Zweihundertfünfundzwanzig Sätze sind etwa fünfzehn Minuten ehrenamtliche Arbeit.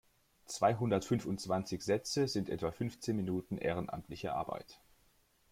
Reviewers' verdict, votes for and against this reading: accepted, 2, 0